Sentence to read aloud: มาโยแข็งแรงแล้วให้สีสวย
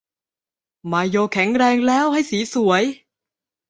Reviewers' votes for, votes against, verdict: 2, 0, accepted